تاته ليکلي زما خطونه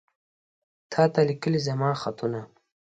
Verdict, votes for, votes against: accepted, 2, 0